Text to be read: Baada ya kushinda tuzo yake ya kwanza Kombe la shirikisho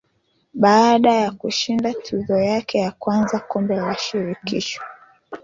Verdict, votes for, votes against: rejected, 0, 2